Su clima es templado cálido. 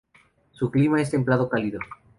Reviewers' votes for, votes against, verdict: 2, 0, accepted